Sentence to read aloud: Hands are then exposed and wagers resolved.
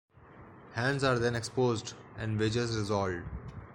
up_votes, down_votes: 0, 2